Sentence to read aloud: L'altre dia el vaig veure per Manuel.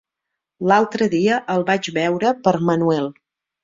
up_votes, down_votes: 4, 0